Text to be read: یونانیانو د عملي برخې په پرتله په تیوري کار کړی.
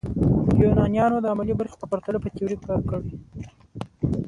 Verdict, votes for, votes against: accepted, 2, 1